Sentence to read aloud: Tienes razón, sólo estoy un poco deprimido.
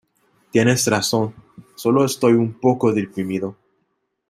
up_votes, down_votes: 2, 0